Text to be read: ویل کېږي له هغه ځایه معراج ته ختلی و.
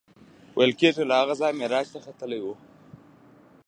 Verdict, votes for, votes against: rejected, 1, 2